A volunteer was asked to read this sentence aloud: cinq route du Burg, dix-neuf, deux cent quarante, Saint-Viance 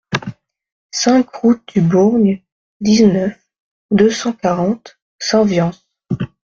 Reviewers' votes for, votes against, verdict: 0, 2, rejected